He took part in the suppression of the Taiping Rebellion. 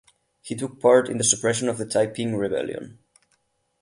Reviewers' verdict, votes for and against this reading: accepted, 8, 0